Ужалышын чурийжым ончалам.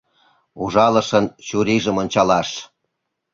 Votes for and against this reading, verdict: 0, 2, rejected